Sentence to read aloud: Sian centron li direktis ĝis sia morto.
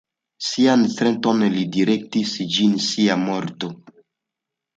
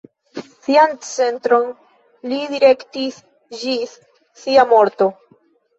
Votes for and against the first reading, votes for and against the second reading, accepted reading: 2, 1, 1, 2, first